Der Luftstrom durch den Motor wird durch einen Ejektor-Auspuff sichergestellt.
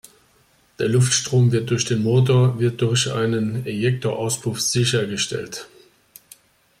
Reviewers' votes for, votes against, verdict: 0, 2, rejected